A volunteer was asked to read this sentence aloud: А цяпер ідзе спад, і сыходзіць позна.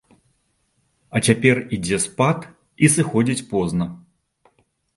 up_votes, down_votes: 2, 0